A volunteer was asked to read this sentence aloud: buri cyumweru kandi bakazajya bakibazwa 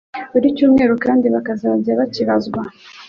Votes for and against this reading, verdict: 0, 2, rejected